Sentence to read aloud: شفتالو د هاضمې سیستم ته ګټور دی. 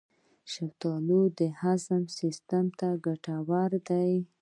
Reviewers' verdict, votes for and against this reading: accepted, 2, 0